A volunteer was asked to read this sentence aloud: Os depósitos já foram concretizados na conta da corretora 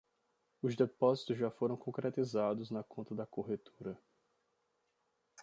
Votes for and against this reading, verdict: 2, 0, accepted